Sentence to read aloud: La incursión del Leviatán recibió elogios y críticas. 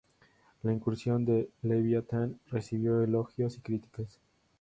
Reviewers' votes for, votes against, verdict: 2, 0, accepted